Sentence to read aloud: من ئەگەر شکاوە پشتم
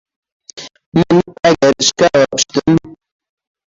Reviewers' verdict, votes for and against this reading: rejected, 0, 2